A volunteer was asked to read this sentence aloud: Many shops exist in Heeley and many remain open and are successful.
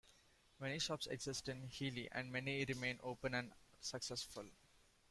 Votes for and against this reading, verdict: 0, 2, rejected